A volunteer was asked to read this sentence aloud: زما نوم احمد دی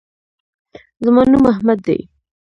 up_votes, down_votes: 0, 2